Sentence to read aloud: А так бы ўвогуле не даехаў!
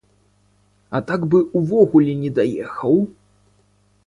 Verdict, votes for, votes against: accepted, 2, 1